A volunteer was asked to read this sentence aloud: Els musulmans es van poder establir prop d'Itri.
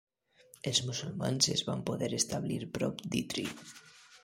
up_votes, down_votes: 1, 2